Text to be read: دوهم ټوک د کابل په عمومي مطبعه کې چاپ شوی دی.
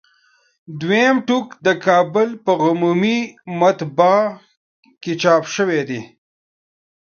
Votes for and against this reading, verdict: 0, 2, rejected